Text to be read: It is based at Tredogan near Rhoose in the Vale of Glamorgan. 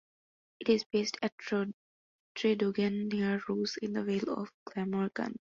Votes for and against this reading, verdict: 1, 2, rejected